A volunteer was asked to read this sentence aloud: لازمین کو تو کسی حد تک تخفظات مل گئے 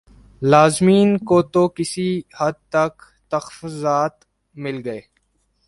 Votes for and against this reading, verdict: 2, 0, accepted